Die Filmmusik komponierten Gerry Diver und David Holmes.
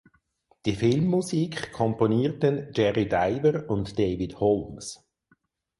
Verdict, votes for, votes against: accepted, 4, 0